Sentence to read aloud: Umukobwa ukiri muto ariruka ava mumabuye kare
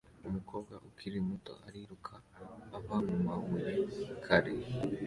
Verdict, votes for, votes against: accepted, 2, 0